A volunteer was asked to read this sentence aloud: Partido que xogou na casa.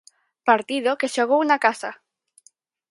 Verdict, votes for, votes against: accepted, 4, 0